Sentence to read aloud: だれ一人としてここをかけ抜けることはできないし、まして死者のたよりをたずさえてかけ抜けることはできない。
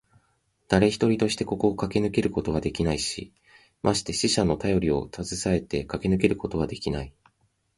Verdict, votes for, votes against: accepted, 2, 0